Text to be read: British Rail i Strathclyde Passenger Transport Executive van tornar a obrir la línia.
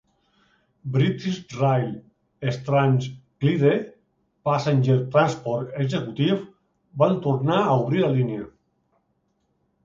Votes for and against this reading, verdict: 1, 2, rejected